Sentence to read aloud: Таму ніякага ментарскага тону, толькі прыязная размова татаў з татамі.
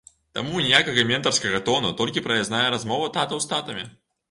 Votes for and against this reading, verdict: 1, 2, rejected